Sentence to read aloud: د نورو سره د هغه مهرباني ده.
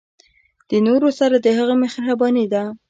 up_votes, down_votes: 2, 0